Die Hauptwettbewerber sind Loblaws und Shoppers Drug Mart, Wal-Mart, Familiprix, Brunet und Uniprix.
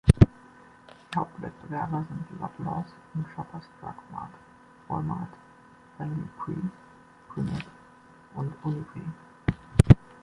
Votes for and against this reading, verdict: 1, 2, rejected